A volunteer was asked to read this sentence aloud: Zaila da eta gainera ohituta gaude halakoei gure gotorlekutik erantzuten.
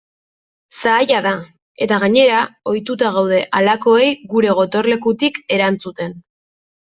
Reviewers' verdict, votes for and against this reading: accepted, 2, 0